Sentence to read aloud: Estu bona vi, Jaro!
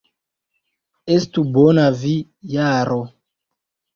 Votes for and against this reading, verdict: 1, 2, rejected